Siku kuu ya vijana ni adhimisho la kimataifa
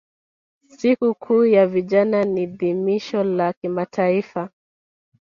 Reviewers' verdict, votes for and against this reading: rejected, 1, 2